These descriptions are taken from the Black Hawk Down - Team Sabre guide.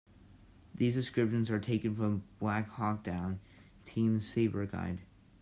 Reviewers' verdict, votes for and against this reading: rejected, 0, 3